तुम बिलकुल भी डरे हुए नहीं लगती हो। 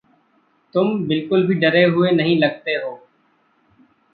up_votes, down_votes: 1, 2